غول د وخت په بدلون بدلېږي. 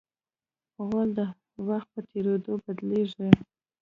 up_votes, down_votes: 0, 2